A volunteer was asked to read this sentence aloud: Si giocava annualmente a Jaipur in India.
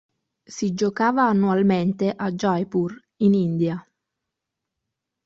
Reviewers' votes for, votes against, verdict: 3, 0, accepted